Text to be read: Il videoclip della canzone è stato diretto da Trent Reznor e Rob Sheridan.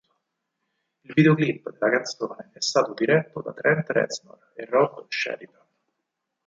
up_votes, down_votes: 2, 4